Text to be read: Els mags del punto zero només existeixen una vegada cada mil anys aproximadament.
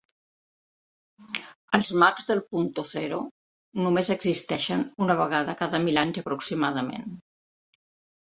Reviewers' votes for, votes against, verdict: 0, 2, rejected